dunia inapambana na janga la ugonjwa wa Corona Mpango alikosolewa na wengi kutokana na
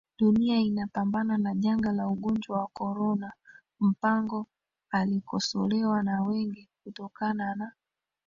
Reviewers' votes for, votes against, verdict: 0, 2, rejected